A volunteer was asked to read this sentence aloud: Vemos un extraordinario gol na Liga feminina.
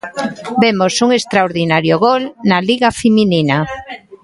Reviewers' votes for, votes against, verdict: 2, 0, accepted